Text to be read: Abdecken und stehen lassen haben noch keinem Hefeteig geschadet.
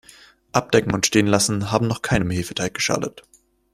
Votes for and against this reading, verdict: 2, 0, accepted